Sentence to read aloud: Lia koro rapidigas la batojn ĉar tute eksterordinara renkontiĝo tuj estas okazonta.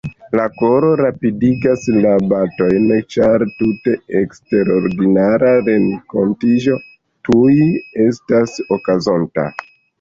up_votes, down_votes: 0, 2